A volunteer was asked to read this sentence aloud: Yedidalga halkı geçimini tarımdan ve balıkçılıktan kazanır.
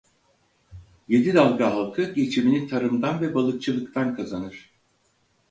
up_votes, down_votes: 4, 0